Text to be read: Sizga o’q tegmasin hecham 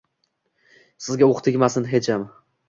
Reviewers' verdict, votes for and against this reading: accepted, 2, 0